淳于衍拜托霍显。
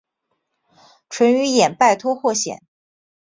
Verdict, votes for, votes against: accepted, 3, 0